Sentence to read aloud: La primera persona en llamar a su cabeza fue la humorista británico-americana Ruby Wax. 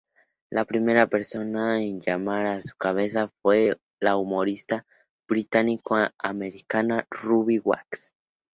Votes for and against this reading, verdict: 0, 2, rejected